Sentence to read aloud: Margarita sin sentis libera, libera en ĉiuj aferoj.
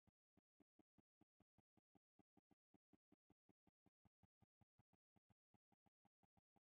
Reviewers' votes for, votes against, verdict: 1, 2, rejected